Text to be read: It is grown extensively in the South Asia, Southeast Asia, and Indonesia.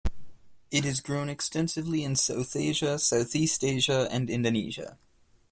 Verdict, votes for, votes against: accepted, 2, 1